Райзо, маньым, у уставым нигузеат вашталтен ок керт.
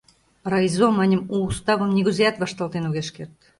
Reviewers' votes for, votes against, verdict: 0, 2, rejected